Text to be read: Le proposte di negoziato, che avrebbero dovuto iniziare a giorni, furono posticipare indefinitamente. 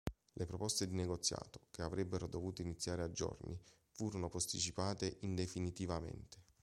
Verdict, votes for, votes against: rejected, 1, 2